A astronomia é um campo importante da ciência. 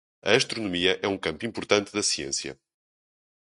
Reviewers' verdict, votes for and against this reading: accepted, 4, 0